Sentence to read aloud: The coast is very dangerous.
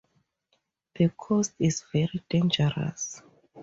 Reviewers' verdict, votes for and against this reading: accepted, 2, 0